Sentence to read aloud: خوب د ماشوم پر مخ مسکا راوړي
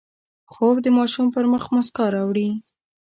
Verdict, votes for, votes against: accepted, 7, 1